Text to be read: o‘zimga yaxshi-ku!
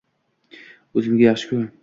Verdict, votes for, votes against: accepted, 2, 0